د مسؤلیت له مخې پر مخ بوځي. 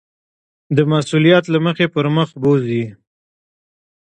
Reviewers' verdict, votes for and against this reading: rejected, 1, 2